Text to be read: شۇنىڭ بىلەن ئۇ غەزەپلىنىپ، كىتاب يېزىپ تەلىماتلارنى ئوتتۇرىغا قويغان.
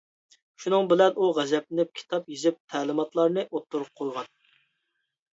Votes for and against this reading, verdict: 2, 0, accepted